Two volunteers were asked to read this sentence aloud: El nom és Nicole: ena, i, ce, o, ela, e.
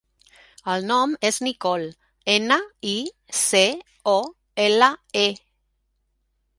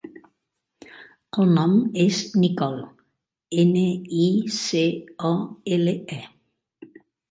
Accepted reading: first